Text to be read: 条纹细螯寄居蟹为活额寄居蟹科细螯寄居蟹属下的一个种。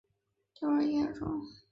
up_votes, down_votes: 0, 2